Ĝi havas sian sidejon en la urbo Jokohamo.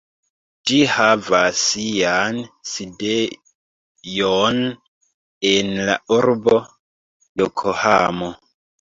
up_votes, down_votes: 1, 2